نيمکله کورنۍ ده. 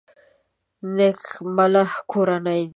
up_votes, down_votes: 1, 2